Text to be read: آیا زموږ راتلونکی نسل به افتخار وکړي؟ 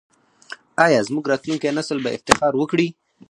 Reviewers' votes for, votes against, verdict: 4, 0, accepted